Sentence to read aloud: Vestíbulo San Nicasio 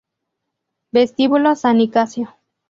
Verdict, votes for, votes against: accepted, 2, 0